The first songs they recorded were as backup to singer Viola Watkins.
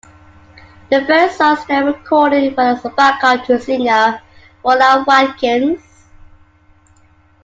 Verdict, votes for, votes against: rejected, 0, 2